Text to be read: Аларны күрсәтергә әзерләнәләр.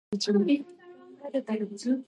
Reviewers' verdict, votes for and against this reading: rejected, 0, 2